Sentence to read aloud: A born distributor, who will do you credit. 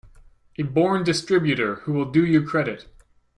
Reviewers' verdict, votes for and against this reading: accepted, 2, 0